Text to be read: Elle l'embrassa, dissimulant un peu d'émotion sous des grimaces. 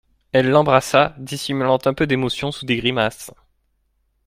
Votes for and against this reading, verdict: 2, 0, accepted